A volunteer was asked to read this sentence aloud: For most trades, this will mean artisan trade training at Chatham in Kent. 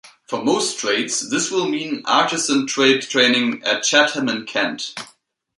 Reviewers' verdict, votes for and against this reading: accepted, 2, 1